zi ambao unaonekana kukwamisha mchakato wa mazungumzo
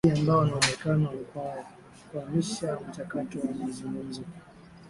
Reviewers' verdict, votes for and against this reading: rejected, 2, 3